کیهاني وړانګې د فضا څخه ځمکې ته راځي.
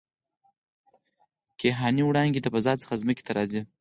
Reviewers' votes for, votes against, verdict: 4, 0, accepted